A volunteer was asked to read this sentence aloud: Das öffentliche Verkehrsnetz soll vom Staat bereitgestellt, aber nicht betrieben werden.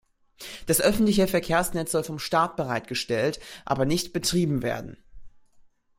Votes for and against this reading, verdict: 2, 0, accepted